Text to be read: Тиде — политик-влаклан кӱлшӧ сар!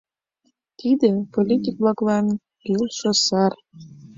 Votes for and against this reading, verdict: 2, 0, accepted